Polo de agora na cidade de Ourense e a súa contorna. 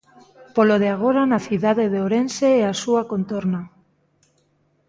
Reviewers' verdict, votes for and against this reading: accepted, 2, 0